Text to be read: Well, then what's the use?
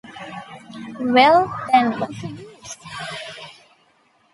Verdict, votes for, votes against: rejected, 0, 2